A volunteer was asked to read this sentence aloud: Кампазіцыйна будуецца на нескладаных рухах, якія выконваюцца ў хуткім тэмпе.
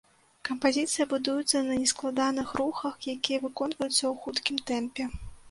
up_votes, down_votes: 0, 2